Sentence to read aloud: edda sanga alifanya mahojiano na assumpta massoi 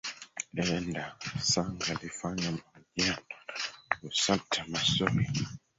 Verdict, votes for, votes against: rejected, 0, 3